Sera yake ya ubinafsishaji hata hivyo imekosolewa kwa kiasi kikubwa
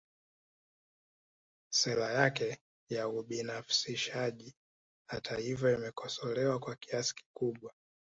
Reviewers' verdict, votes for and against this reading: rejected, 1, 2